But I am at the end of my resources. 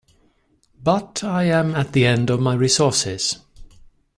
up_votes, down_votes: 2, 0